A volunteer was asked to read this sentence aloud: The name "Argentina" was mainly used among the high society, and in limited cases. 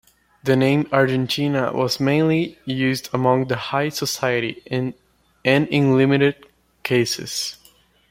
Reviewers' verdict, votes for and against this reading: rejected, 1, 2